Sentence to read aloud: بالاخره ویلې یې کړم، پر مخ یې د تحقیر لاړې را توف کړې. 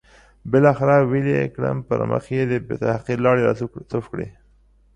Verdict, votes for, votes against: rejected, 1, 2